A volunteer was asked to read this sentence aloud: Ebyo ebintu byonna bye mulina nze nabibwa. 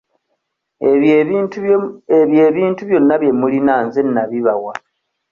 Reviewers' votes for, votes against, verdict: 0, 2, rejected